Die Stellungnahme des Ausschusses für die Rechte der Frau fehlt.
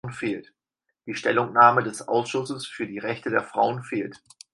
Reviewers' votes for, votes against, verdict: 2, 4, rejected